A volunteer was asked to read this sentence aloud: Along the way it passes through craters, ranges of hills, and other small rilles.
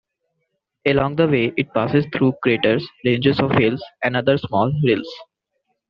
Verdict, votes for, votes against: accepted, 2, 0